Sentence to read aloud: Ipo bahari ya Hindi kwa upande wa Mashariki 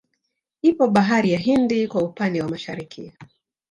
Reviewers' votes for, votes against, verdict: 2, 1, accepted